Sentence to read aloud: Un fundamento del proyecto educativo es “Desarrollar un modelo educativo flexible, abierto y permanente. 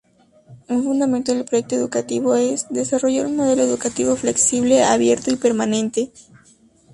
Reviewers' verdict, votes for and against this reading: accepted, 2, 0